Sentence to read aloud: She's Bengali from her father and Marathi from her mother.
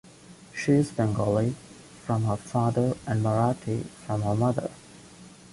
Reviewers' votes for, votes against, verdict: 2, 1, accepted